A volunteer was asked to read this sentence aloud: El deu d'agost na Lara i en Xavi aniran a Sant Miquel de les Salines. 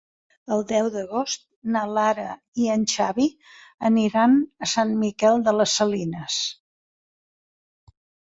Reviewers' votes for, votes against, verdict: 3, 0, accepted